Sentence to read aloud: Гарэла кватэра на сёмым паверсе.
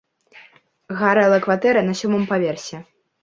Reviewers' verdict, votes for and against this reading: accepted, 2, 0